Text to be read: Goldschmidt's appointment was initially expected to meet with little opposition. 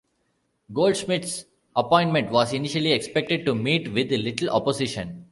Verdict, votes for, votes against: accepted, 2, 1